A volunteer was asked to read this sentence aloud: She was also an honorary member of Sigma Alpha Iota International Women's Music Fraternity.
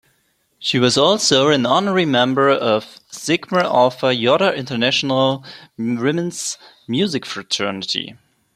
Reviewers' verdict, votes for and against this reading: rejected, 0, 2